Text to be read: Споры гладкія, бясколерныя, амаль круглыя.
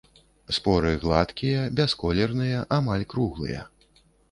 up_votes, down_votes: 2, 0